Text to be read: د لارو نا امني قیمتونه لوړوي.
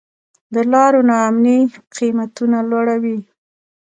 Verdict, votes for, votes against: rejected, 1, 2